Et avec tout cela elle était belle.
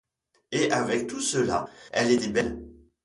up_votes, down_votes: 2, 0